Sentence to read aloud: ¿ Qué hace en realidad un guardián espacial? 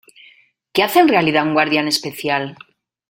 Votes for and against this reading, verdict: 0, 2, rejected